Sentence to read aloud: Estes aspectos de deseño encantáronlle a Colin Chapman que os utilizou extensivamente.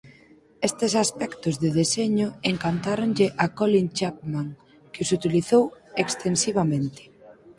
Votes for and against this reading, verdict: 4, 2, accepted